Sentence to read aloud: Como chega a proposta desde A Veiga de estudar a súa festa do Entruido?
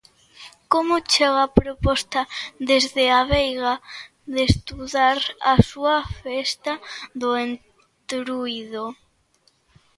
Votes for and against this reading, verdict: 2, 0, accepted